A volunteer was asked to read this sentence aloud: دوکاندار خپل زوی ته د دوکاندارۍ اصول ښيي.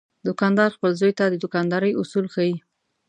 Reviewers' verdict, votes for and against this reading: accepted, 2, 0